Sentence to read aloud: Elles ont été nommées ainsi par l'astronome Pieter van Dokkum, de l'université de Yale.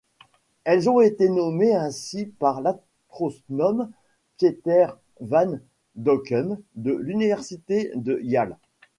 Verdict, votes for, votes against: rejected, 0, 2